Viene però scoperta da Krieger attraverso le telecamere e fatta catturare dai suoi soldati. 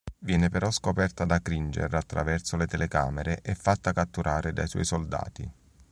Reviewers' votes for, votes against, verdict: 1, 2, rejected